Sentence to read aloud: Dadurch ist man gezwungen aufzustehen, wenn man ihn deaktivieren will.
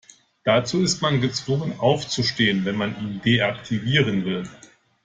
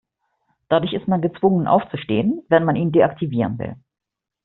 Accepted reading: second